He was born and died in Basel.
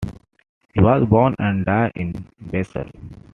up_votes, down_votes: 2, 0